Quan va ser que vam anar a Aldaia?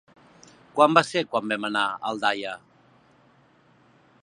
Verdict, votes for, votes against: rejected, 1, 2